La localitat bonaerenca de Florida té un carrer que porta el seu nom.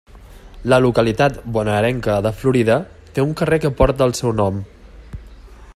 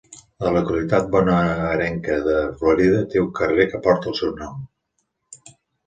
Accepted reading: first